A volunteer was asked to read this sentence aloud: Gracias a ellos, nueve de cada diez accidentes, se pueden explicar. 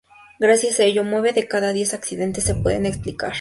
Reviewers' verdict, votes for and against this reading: accepted, 2, 0